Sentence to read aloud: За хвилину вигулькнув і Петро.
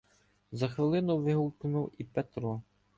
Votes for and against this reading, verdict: 0, 2, rejected